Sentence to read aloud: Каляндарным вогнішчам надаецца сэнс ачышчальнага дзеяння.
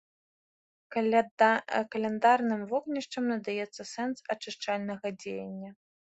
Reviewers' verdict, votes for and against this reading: rejected, 1, 4